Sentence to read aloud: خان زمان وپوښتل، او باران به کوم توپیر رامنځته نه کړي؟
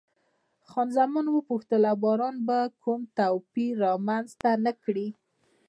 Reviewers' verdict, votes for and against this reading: accepted, 2, 0